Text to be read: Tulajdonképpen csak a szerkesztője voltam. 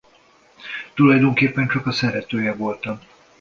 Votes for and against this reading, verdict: 0, 2, rejected